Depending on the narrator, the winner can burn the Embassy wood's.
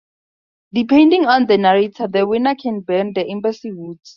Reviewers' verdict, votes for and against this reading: accepted, 2, 0